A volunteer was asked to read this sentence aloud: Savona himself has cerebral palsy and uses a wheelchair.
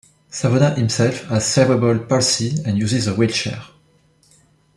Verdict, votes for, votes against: accepted, 2, 0